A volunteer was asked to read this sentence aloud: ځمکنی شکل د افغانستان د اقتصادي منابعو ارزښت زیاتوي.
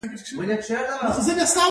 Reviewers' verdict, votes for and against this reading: accepted, 2, 1